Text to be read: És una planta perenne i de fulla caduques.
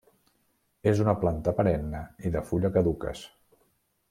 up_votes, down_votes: 2, 0